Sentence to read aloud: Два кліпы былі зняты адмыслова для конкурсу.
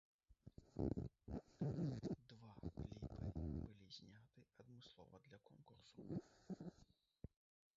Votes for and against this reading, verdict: 0, 2, rejected